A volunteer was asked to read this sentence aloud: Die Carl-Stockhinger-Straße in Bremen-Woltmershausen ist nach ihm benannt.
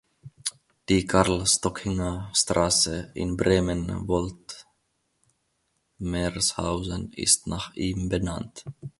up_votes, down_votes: 1, 3